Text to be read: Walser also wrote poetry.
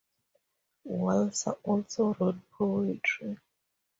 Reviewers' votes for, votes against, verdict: 4, 0, accepted